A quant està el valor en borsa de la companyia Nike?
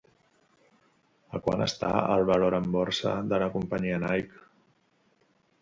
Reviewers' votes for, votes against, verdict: 2, 0, accepted